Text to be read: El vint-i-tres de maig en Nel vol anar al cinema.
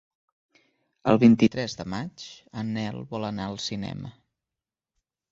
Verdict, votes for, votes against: accepted, 2, 0